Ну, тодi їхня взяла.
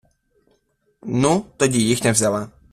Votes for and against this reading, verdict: 2, 0, accepted